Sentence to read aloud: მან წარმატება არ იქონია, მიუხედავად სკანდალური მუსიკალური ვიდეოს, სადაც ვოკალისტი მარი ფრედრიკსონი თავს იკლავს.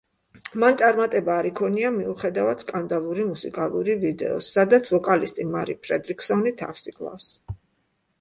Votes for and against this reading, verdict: 2, 1, accepted